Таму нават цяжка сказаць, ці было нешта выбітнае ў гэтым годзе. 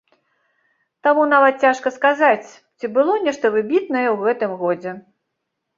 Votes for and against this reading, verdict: 3, 0, accepted